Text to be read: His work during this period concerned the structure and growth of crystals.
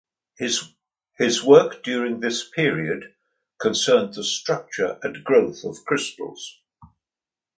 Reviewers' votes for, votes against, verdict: 0, 2, rejected